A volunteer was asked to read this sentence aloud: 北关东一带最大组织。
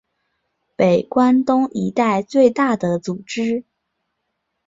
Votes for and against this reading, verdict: 2, 0, accepted